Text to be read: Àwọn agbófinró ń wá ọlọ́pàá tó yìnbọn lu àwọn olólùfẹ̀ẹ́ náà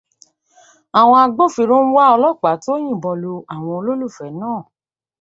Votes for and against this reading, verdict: 2, 0, accepted